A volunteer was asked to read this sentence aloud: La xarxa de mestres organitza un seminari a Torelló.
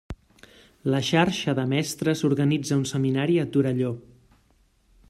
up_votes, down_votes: 3, 0